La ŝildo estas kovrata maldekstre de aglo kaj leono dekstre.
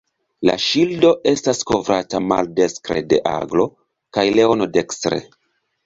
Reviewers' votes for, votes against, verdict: 2, 0, accepted